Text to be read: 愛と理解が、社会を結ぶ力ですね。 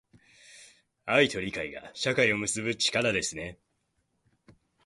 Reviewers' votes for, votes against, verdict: 2, 0, accepted